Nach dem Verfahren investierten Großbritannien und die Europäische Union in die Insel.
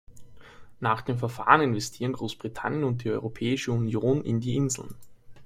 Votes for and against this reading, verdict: 0, 2, rejected